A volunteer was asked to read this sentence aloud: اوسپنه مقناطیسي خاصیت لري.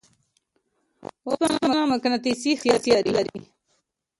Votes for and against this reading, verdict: 1, 2, rejected